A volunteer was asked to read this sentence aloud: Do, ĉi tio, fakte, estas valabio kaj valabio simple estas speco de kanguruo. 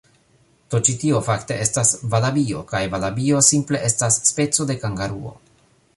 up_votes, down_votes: 0, 2